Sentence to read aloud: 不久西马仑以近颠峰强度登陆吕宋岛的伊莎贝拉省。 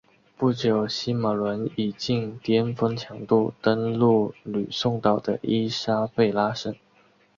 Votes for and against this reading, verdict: 1, 2, rejected